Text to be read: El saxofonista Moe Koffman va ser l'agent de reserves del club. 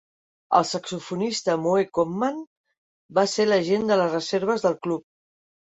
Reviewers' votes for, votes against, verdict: 0, 2, rejected